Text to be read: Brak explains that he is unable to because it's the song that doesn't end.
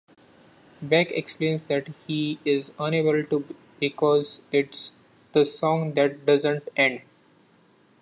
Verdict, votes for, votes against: rejected, 2, 3